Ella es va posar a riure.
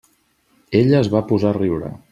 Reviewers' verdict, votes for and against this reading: accepted, 3, 0